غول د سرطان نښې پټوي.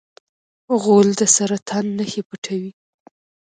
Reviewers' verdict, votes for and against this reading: rejected, 1, 2